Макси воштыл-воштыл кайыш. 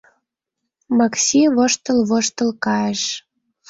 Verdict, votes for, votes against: accepted, 2, 0